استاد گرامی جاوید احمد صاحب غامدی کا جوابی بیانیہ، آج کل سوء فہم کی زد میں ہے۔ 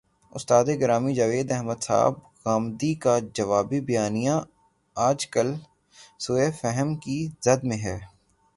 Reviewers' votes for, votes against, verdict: 3, 0, accepted